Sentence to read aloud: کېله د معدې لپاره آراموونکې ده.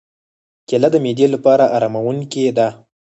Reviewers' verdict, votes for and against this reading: accepted, 4, 0